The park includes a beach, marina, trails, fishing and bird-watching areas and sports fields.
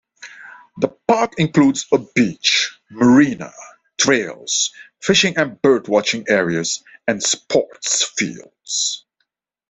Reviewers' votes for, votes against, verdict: 2, 1, accepted